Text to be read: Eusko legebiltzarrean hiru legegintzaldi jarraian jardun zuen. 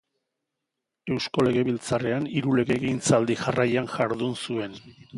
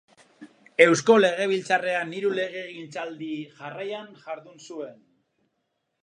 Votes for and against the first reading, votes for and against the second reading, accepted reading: 2, 0, 0, 2, first